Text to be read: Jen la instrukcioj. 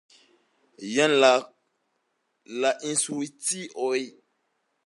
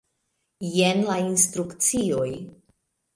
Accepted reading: second